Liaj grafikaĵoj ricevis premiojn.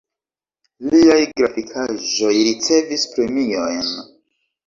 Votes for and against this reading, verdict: 3, 0, accepted